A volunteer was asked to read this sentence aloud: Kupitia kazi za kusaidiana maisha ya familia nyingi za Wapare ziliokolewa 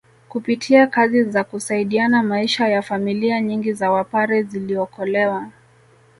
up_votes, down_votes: 2, 0